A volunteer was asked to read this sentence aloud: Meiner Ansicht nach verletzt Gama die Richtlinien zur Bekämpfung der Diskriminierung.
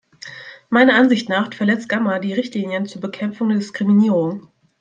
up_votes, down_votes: 0, 2